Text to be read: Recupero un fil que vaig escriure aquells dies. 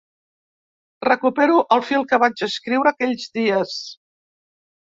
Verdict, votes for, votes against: rejected, 0, 2